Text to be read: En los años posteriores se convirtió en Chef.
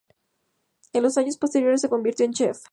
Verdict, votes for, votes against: accepted, 2, 0